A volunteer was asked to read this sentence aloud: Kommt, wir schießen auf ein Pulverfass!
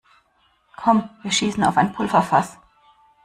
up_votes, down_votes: 2, 0